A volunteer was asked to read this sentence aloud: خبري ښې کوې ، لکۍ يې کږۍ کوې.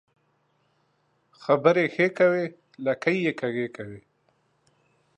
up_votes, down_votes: 2, 1